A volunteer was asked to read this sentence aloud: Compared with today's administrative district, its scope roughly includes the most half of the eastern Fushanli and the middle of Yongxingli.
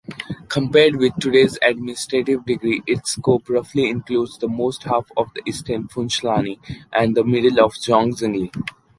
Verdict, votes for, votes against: rejected, 1, 2